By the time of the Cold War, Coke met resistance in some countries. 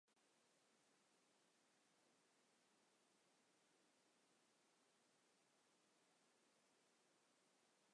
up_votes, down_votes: 0, 2